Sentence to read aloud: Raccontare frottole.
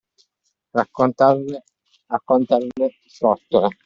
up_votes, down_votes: 0, 2